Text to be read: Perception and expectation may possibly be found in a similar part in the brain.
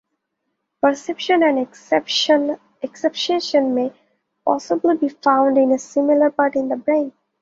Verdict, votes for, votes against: rejected, 0, 2